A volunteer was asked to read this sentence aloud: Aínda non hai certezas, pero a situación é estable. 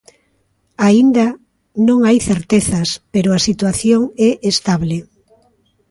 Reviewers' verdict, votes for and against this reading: accepted, 2, 0